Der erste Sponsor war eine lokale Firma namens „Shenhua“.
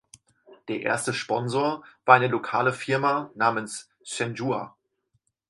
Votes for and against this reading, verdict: 2, 4, rejected